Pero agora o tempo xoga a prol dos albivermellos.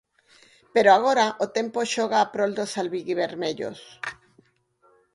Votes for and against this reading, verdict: 2, 4, rejected